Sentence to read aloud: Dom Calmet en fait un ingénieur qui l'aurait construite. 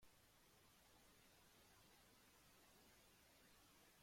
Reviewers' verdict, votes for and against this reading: rejected, 0, 2